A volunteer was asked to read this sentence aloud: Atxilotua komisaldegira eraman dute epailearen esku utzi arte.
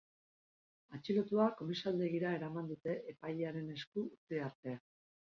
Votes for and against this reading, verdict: 2, 4, rejected